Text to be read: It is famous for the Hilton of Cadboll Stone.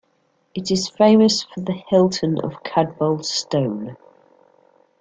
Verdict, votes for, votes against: accepted, 2, 0